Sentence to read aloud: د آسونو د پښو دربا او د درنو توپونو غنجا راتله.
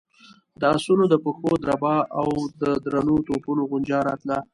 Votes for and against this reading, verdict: 2, 1, accepted